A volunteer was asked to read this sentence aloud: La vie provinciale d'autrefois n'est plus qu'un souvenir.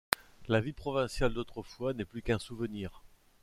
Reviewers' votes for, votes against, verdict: 2, 0, accepted